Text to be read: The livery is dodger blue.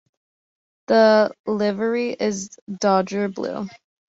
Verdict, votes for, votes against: accepted, 2, 0